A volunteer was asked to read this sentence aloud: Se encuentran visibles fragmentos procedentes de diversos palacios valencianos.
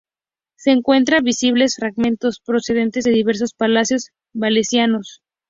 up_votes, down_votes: 2, 0